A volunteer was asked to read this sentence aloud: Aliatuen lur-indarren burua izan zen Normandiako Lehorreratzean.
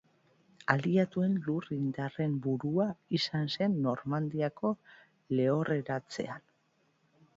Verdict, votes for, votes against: accepted, 2, 0